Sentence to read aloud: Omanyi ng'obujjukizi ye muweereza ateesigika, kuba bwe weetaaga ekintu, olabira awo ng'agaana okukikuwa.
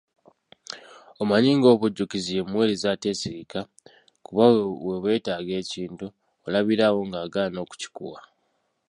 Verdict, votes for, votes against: accepted, 2, 1